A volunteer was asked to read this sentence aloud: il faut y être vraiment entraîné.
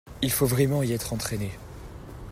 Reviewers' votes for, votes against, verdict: 0, 2, rejected